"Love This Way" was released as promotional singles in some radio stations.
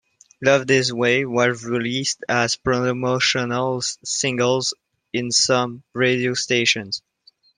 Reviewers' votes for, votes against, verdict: 3, 2, accepted